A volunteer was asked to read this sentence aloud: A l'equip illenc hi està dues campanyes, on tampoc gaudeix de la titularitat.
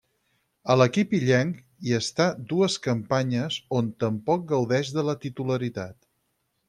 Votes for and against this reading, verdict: 4, 0, accepted